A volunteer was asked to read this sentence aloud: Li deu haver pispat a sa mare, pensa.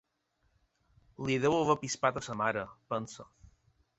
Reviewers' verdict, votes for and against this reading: accepted, 4, 0